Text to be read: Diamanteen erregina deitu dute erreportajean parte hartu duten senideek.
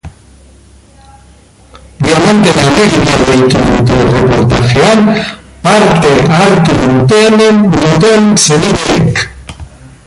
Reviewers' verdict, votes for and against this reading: rejected, 0, 2